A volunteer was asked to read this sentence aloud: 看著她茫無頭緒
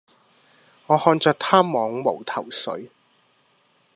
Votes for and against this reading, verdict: 1, 2, rejected